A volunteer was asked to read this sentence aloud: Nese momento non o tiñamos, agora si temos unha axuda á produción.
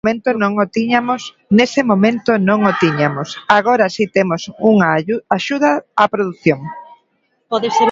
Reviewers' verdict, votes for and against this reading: rejected, 0, 2